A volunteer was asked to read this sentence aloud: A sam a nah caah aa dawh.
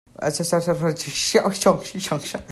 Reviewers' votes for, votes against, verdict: 0, 2, rejected